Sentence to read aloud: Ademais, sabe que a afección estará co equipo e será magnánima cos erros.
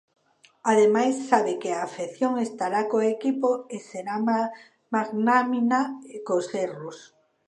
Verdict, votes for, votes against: rejected, 0, 2